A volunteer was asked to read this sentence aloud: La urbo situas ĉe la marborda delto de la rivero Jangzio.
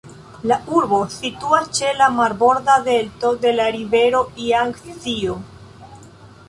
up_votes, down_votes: 0, 2